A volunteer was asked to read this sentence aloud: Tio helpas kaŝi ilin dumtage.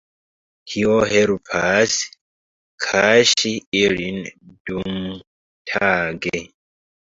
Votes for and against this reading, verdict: 1, 2, rejected